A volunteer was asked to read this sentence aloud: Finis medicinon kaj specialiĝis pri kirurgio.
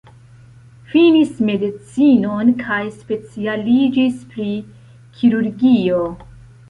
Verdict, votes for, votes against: accepted, 2, 0